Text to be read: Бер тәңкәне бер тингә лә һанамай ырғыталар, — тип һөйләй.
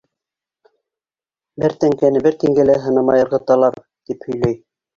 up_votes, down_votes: 2, 0